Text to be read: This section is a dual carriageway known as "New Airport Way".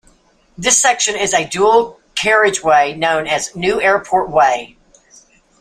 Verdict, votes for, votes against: accepted, 2, 0